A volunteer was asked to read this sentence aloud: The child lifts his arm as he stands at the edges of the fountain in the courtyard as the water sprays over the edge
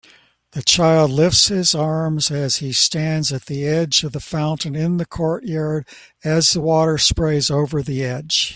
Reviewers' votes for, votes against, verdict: 0, 2, rejected